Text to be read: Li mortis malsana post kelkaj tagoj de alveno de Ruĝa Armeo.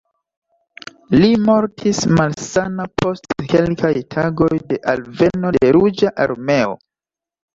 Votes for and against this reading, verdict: 2, 0, accepted